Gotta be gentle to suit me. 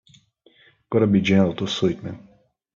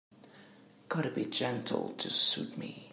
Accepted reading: second